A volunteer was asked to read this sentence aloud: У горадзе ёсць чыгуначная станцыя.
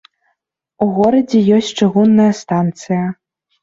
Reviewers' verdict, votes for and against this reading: rejected, 0, 2